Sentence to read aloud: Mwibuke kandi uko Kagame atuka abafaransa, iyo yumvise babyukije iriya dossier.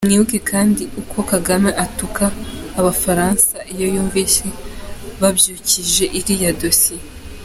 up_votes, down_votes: 2, 0